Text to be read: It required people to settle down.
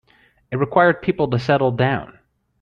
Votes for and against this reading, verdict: 2, 0, accepted